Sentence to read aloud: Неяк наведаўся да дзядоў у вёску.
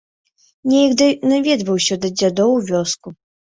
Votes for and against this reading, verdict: 0, 2, rejected